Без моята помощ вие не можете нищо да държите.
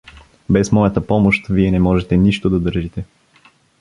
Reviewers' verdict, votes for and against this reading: accepted, 2, 0